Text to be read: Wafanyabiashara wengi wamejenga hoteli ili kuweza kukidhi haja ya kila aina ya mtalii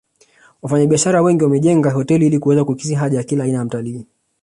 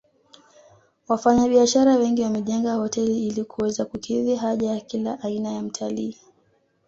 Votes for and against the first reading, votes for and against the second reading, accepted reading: 1, 2, 2, 1, second